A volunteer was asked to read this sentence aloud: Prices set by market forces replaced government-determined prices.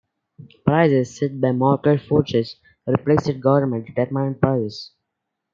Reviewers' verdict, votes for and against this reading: accepted, 2, 1